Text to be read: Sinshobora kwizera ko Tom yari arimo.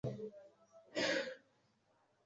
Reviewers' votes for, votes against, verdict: 1, 2, rejected